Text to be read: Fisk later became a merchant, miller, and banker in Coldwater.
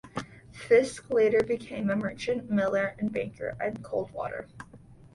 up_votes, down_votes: 2, 0